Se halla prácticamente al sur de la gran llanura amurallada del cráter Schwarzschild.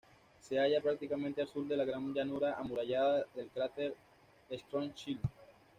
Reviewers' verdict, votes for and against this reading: accepted, 2, 0